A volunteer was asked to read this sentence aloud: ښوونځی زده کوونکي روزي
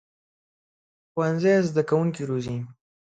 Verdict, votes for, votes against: accepted, 2, 0